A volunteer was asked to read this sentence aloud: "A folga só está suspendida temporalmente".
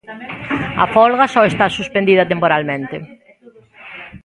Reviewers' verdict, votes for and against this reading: rejected, 1, 2